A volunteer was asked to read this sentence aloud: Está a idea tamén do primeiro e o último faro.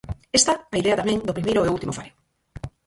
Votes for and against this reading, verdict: 0, 4, rejected